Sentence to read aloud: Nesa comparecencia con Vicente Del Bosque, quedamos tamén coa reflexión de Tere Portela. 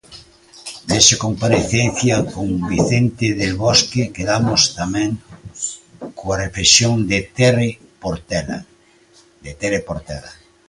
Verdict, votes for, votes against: rejected, 0, 2